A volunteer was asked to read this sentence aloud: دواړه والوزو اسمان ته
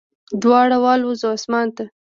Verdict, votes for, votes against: accepted, 2, 0